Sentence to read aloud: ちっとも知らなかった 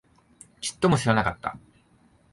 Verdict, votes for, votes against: accepted, 7, 0